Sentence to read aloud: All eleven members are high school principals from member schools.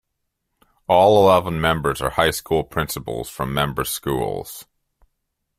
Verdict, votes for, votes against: accepted, 2, 0